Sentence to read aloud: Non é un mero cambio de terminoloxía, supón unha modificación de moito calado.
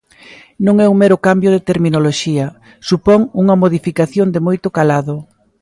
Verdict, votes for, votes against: accepted, 2, 0